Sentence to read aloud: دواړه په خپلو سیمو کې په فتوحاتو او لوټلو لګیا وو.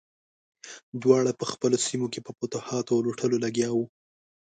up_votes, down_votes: 2, 0